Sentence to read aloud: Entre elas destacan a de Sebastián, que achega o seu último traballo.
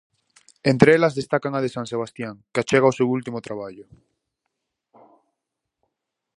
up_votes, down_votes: 2, 2